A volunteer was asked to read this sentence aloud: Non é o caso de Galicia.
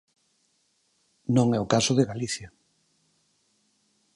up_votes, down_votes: 4, 0